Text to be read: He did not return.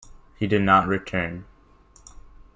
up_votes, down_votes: 2, 0